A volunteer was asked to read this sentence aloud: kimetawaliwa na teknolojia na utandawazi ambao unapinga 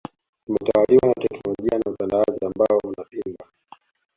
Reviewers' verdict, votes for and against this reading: rejected, 0, 2